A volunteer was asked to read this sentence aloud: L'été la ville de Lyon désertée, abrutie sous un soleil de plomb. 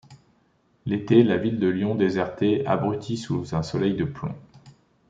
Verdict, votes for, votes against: accepted, 2, 0